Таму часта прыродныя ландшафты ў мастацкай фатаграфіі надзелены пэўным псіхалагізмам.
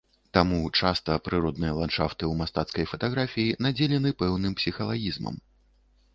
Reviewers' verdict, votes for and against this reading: accepted, 2, 0